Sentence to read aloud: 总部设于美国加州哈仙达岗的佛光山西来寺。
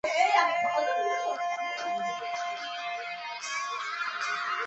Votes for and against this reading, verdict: 0, 2, rejected